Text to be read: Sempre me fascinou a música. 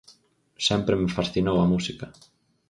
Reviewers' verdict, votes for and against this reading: accepted, 4, 0